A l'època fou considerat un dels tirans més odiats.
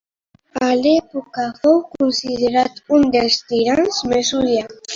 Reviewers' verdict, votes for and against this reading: accepted, 2, 1